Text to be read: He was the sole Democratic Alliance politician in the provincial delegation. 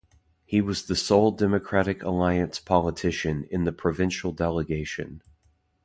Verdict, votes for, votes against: accepted, 2, 0